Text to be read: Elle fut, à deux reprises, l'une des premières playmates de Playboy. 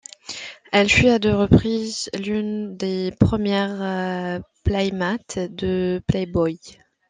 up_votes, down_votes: 2, 1